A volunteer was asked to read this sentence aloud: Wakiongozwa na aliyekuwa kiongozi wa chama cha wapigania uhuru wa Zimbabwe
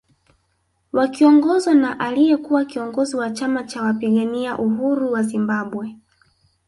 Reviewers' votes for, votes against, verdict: 2, 0, accepted